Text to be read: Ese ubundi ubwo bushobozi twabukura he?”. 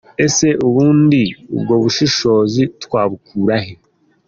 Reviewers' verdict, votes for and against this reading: accepted, 2, 1